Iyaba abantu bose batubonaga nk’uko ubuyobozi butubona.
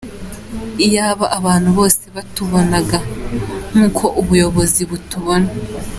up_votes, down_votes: 2, 0